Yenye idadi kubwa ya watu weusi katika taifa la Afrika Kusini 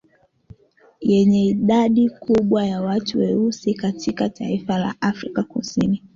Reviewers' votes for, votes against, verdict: 2, 1, accepted